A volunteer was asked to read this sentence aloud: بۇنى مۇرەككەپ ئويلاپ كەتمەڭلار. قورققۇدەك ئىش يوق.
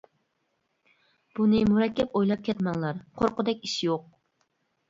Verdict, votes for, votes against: accepted, 2, 0